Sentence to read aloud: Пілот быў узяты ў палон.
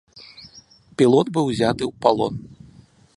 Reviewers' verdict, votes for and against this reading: accepted, 2, 0